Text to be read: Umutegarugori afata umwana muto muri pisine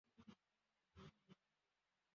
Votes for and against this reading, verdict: 0, 2, rejected